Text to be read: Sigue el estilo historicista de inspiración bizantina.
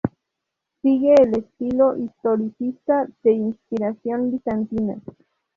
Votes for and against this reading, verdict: 0, 2, rejected